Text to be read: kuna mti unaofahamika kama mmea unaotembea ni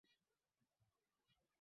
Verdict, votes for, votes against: rejected, 0, 3